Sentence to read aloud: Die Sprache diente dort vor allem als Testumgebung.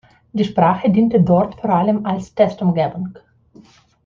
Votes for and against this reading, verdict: 2, 0, accepted